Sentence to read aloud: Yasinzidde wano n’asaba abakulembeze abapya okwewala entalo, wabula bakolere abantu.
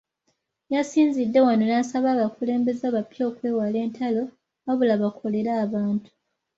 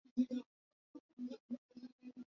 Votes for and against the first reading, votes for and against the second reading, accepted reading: 2, 0, 0, 2, first